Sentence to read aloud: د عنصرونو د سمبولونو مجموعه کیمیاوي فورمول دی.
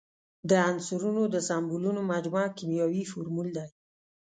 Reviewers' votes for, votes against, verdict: 2, 0, accepted